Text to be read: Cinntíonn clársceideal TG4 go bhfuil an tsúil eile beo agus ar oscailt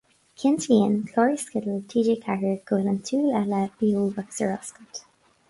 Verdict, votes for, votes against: rejected, 0, 2